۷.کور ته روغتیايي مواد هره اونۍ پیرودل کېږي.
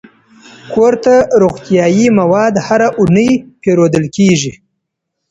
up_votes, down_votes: 0, 2